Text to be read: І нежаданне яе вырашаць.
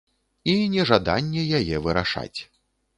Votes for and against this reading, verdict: 2, 0, accepted